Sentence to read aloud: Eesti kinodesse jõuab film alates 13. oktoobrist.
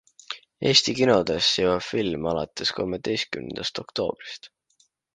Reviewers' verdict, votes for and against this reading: rejected, 0, 2